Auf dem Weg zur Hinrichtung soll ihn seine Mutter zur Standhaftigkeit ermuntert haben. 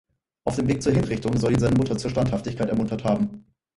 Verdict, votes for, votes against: rejected, 2, 4